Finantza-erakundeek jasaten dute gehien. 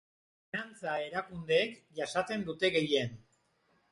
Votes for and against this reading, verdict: 1, 2, rejected